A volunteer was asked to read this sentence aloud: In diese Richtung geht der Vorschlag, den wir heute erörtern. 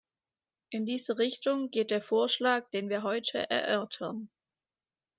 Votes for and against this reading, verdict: 2, 0, accepted